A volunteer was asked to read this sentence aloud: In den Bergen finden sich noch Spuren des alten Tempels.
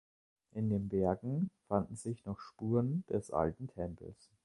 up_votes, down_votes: 0, 2